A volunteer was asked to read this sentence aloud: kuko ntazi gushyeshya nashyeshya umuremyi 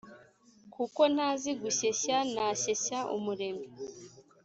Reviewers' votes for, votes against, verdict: 2, 0, accepted